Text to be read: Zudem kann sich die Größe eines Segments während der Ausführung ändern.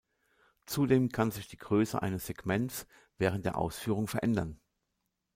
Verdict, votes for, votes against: rejected, 0, 2